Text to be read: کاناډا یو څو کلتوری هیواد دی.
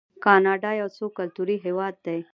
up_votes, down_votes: 0, 2